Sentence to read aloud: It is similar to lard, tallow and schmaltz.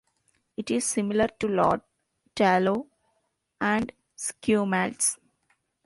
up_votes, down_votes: 0, 2